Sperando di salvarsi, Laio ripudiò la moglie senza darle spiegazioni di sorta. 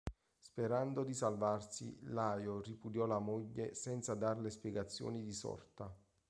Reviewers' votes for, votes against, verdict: 3, 0, accepted